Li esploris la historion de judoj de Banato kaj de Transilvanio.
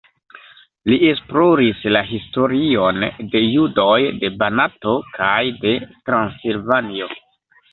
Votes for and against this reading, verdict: 1, 2, rejected